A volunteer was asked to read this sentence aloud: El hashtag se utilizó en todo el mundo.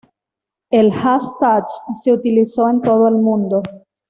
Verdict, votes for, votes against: accepted, 2, 0